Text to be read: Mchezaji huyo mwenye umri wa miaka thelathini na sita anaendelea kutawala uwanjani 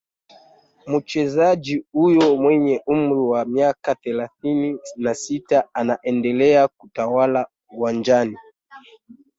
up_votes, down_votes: 0, 2